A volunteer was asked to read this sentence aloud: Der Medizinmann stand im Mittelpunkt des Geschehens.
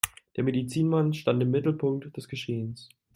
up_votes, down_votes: 2, 0